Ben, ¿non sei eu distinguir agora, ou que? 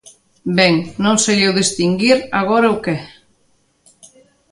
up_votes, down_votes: 2, 0